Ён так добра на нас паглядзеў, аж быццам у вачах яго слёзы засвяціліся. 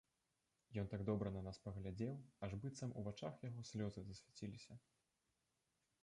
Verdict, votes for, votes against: rejected, 1, 2